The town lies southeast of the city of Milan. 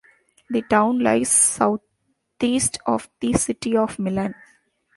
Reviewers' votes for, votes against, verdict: 1, 2, rejected